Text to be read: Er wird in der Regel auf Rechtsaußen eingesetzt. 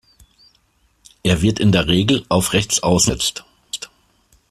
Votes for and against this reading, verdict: 0, 2, rejected